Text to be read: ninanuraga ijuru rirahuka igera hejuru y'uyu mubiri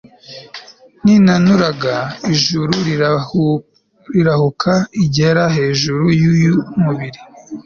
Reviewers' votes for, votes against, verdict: 1, 2, rejected